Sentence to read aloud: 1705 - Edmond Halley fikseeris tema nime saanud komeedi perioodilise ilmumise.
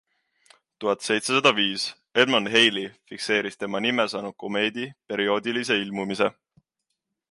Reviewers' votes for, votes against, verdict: 0, 2, rejected